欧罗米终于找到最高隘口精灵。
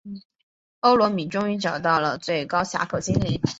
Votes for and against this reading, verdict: 6, 1, accepted